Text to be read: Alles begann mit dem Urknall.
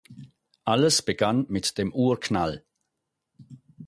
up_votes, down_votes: 4, 0